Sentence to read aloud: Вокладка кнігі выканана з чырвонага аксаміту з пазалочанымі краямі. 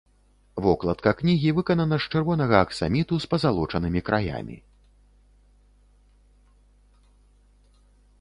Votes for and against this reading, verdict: 2, 0, accepted